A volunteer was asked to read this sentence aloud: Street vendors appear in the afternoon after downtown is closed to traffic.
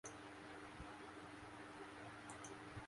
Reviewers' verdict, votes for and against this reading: rejected, 0, 2